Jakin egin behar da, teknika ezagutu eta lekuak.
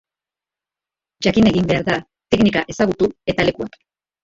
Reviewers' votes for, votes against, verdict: 2, 0, accepted